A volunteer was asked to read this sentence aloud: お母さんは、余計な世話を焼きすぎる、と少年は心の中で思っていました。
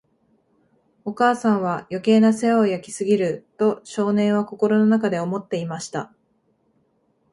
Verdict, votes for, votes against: accepted, 2, 0